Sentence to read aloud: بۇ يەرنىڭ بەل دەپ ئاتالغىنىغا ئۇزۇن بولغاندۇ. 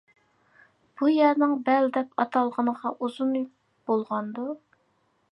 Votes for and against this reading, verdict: 2, 0, accepted